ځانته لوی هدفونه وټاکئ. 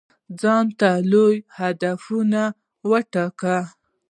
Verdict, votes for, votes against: accepted, 2, 0